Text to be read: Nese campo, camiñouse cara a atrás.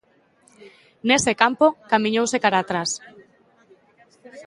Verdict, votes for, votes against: accepted, 2, 0